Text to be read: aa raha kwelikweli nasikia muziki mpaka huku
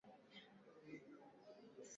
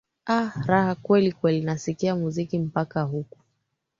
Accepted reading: second